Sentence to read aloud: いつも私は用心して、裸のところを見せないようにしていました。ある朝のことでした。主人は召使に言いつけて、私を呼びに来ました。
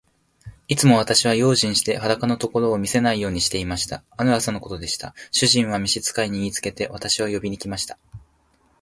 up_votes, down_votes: 3, 0